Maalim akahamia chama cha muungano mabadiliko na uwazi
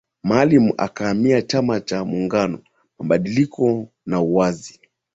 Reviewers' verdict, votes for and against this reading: accepted, 2, 0